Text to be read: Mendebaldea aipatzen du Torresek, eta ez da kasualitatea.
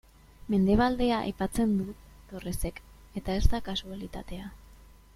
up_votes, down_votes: 2, 0